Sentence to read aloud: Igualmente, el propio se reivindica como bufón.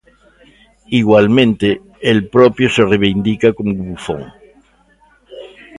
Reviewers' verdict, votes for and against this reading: accepted, 2, 0